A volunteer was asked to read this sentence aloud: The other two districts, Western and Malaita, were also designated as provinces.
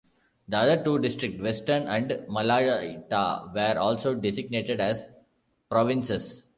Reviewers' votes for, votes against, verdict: 0, 2, rejected